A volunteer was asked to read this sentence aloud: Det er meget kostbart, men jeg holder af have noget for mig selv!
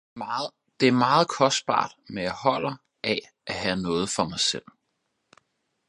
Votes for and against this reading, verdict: 0, 4, rejected